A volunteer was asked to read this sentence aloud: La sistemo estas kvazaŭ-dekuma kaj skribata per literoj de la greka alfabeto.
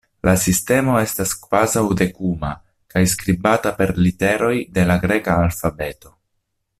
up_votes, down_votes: 2, 0